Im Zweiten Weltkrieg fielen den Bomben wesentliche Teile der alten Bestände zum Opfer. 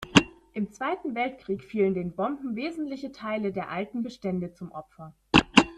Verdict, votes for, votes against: accepted, 2, 0